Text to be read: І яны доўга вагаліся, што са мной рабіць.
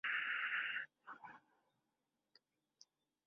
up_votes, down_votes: 0, 2